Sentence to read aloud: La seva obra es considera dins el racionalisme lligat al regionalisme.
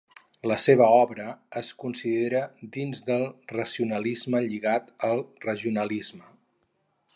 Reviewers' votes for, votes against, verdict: 4, 0, accepted